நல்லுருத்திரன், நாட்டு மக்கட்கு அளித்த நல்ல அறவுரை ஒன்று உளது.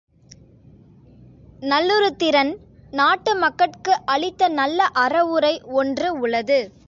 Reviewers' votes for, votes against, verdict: 2, 0, accepted